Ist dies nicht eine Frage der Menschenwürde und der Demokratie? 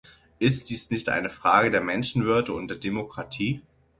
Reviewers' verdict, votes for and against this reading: accepted, 6, 0